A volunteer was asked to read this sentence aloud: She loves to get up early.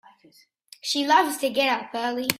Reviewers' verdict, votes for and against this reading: accepted, 2, 1